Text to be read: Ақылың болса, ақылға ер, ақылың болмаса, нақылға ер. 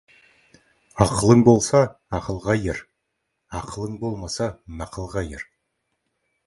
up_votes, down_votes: 2, 0